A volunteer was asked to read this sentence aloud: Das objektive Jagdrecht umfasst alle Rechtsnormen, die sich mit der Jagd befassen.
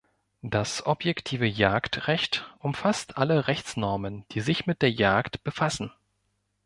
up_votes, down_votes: 2, 0